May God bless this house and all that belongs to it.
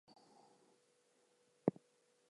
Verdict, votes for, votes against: rejected, 0, 2